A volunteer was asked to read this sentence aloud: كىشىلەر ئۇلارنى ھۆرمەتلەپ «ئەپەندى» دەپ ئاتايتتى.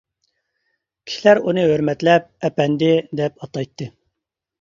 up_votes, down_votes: 0, 2